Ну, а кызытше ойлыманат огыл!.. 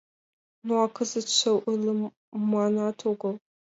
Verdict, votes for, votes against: accepted, 2, 1